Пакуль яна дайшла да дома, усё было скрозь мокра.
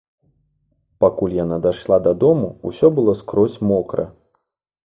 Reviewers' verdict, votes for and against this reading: rejected, 1, 2